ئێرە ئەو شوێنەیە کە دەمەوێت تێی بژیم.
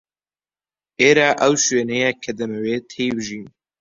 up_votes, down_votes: 2, 0